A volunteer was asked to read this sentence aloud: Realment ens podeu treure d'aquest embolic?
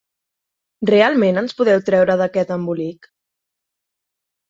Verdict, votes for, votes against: accepted, 4, 0